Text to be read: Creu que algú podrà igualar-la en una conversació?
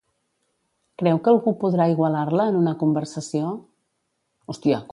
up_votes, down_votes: 0, 2